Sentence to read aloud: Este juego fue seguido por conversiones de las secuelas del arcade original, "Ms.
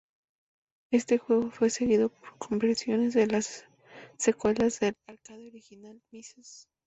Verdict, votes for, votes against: rejected, 0, 2